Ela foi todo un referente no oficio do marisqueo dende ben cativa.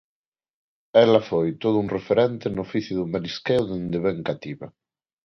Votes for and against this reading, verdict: 2, 0, accepted